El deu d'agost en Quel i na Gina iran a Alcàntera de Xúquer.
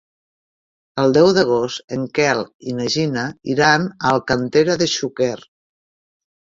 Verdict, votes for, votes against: rejected, 1, 2